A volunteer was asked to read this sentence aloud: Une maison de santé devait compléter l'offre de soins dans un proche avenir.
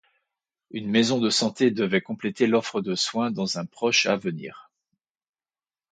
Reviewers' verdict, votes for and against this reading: accepted, 2, 0